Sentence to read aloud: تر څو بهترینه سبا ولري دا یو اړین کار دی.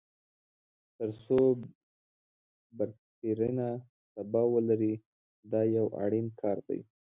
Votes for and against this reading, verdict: 2, 0, accepted